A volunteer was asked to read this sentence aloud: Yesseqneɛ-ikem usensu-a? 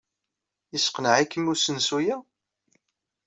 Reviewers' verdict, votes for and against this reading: accepted, 2, 0